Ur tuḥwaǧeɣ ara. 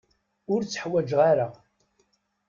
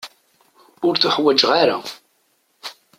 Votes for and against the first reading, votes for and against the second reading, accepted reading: 1, 2, 2, 0, second